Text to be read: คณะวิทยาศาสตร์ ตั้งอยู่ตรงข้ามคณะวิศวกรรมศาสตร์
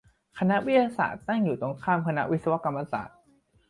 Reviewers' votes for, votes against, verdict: 2, 0, accepted